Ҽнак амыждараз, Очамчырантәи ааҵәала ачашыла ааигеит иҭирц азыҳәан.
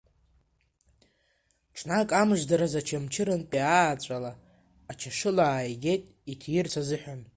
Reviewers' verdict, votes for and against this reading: rejected, 1, 2